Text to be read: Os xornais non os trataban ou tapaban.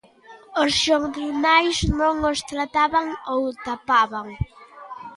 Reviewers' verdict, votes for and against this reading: rejected, 1, 2